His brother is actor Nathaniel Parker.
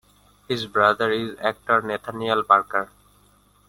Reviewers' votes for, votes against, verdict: 2, 1, accepted